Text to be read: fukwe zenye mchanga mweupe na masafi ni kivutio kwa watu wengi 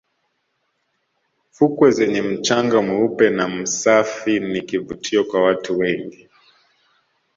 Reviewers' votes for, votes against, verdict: 0, 2, rejected